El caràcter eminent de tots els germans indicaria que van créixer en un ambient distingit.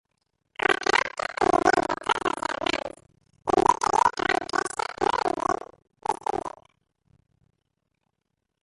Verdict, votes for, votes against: rejected, 0, 2